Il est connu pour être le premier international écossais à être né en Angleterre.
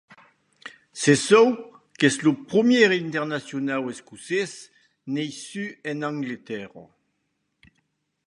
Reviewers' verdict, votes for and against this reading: rejected, 0, 2